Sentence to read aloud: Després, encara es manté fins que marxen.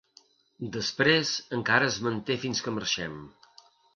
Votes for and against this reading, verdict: 1, 2, rejected